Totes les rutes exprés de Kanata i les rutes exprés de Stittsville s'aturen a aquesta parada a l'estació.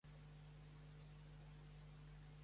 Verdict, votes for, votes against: rejected, 0, 2